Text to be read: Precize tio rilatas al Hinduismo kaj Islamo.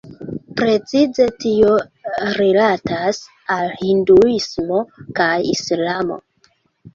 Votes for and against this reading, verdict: 2, 0, accepted